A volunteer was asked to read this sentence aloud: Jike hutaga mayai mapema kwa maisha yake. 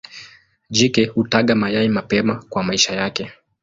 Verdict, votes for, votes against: accepted, 2, 0